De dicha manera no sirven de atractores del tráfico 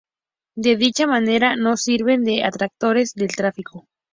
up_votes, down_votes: 2, 0